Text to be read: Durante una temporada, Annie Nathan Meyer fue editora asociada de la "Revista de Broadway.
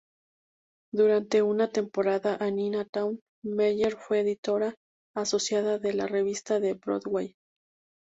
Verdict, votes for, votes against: accepted, 2, 0